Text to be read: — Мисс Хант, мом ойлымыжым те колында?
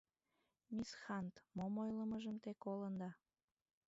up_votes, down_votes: 1, 2